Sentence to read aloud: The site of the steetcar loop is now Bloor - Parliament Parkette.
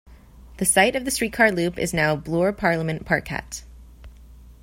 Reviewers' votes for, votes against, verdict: 2, 0, accepted